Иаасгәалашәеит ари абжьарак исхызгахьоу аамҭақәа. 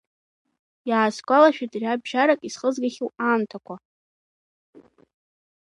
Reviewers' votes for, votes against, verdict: 2, 1, accepted